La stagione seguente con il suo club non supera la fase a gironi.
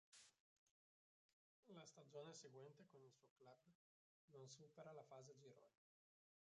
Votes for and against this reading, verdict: 0, 2, rejected